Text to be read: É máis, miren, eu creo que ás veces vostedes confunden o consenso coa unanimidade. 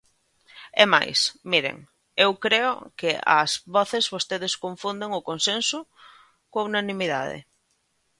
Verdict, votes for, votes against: rejected, 0, 2